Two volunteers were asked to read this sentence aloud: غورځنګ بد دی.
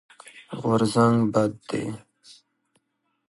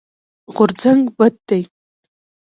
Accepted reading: first